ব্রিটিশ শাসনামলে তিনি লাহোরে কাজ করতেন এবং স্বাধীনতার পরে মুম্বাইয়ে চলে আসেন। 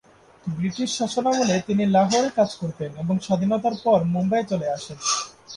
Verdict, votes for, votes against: accepted, 3, 1